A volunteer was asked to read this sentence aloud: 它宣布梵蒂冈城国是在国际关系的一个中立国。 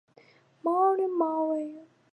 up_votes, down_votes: 0, 5